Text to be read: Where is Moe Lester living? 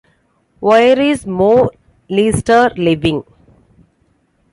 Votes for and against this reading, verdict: 2, 1, accepted